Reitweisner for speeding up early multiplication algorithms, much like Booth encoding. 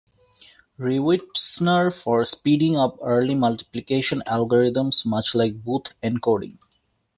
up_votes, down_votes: 0, 2